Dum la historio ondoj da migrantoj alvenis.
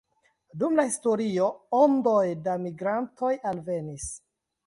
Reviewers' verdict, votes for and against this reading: rejected, 1, 2